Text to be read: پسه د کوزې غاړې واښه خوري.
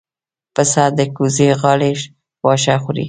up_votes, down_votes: 2, 0